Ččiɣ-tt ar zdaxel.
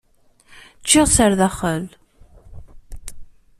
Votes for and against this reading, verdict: 2, 0, accepted